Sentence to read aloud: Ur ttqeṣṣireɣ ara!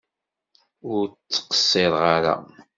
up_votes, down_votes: 2, 0